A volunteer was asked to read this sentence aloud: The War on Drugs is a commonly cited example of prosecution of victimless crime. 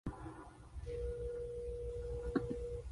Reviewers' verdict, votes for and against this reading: rejected, 0, 2